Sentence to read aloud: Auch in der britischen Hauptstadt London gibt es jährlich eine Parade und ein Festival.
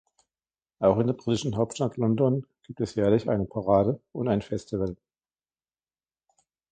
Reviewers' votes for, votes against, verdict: 2, 1, accepted